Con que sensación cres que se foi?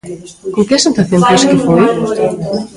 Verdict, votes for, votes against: rejected, 0, 2